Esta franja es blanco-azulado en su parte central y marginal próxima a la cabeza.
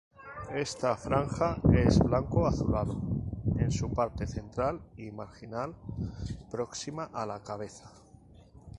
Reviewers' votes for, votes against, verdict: 2, 0, accepted